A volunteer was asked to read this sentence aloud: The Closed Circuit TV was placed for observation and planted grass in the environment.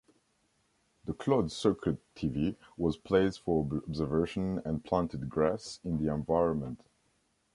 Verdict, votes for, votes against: rejected, 0, 2